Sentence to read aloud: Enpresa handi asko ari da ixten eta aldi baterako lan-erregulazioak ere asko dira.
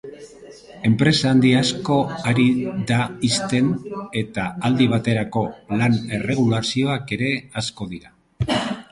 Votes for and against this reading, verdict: 4, 0, accepted